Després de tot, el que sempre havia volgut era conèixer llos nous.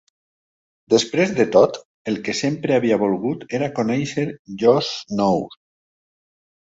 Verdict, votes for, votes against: rejected, 1, 2